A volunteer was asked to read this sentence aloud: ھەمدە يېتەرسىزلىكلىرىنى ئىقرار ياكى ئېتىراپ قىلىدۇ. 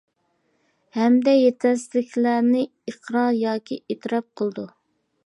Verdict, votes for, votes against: rejected, 0, 2